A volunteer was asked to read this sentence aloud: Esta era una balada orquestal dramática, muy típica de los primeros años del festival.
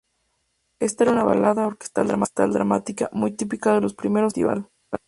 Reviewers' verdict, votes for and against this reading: rejected, 0, 4